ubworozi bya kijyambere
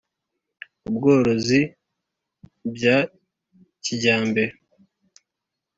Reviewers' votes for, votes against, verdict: 2, 0, accepted